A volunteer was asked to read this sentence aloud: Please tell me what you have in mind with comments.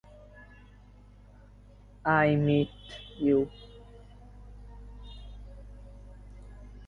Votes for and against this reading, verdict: 0, 2, rejected